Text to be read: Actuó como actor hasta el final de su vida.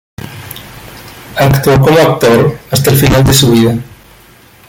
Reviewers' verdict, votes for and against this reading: accepted, 3, 0